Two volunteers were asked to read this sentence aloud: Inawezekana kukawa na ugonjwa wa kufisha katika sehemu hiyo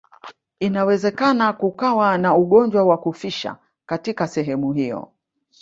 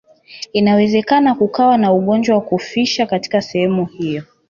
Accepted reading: second